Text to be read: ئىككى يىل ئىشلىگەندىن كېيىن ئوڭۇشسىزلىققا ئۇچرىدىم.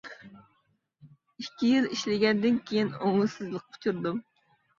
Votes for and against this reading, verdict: 2, 0, accepted